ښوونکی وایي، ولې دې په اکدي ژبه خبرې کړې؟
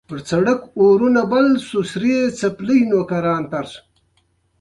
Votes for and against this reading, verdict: 1, 2, rejected